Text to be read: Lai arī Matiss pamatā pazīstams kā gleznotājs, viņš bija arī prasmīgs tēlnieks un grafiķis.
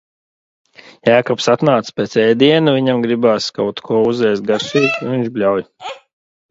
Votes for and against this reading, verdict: 0, 2, rejected